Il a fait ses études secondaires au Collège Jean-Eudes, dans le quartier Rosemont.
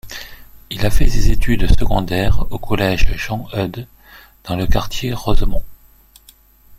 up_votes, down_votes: 2, 0